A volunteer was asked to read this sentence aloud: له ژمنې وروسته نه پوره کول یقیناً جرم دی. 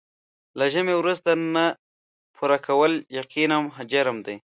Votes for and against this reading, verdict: 1, 2, rejected